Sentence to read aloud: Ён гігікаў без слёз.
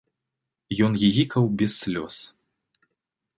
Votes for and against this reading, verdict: 2, 0, accepted